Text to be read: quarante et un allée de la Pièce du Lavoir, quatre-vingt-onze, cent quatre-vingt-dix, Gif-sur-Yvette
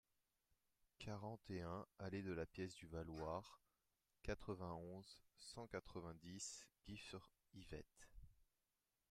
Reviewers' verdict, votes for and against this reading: rejected, 0, 2